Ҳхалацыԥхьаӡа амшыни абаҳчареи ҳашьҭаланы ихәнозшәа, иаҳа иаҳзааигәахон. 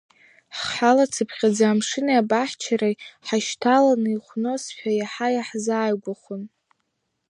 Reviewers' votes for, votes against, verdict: 1, 2, rejected